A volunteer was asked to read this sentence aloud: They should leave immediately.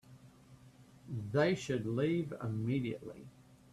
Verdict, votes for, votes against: accepted, 2, 0